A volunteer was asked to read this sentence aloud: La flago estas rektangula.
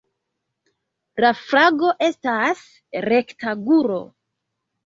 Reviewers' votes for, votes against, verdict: 0, 2, rejected